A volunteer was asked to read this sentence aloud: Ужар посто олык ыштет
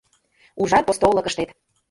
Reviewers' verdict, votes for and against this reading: accepted, 2, 1